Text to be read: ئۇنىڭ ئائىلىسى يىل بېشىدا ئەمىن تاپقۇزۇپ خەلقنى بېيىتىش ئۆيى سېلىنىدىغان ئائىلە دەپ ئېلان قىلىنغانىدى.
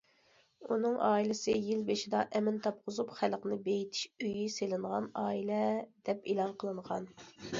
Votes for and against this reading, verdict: 0, 2, rejected